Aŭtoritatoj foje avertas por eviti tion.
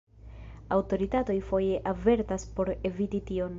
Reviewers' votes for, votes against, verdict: 1, 2, rejected